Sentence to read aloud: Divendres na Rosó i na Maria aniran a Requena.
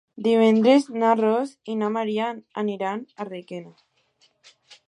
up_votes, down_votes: 1, 2